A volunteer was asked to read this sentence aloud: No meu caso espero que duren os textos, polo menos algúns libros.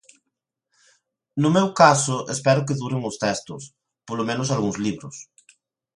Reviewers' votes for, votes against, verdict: 2, 0, accepted